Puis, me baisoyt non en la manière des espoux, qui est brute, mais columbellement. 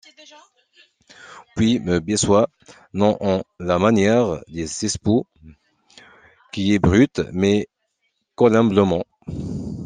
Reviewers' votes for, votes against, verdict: 1, 2, rejected